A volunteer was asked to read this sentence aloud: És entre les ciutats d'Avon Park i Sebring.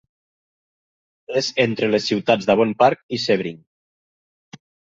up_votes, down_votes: 3, 0